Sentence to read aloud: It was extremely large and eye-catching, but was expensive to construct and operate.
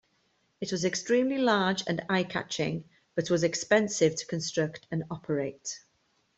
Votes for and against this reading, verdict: 2, 0, accepted